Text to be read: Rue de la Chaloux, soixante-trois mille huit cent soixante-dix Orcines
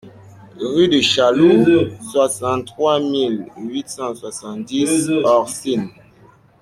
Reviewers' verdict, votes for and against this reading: rejected, 0, 2